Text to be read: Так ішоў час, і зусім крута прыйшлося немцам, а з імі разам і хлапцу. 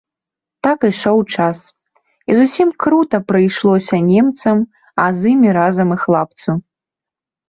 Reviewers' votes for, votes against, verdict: 0, 2, rejected